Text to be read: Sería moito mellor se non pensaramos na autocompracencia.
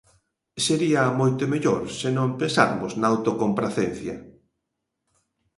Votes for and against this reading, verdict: 0, 2, rejected